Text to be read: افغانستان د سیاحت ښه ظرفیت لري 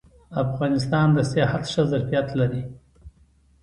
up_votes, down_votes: 2, 0